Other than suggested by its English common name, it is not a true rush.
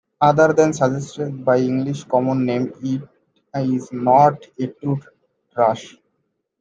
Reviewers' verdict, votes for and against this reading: rejected, 0, 2